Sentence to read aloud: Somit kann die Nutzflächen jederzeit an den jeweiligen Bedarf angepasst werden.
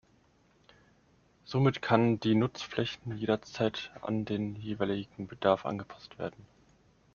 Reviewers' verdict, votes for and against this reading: accepted, 2, 0